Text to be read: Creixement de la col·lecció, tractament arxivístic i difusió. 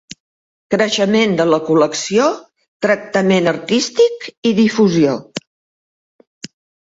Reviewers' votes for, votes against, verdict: 1, 2, rejected